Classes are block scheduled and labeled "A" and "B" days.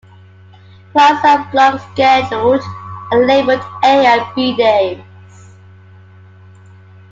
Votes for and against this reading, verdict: 1, 2, rejected